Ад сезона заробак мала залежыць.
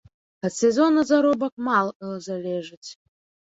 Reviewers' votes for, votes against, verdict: 1, 2, rejected